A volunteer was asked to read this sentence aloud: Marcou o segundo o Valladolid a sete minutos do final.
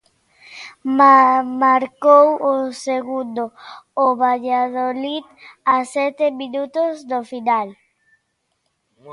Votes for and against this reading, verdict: 0, 2, rejected